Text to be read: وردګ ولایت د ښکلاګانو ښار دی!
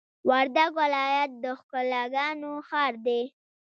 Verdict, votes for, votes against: rejected, 1, 2